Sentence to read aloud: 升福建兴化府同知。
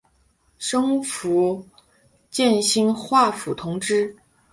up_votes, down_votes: 2, 1